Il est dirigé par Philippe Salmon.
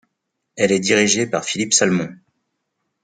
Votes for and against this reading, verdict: 0, 2, rejected